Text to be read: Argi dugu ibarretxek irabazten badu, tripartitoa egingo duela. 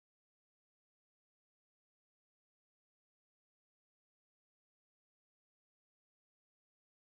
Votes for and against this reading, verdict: 0, 2, rejected